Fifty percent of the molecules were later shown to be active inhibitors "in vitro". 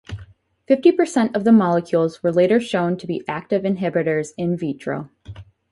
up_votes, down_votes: 4, 0